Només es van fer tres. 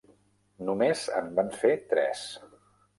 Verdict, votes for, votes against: rejected, 0, 2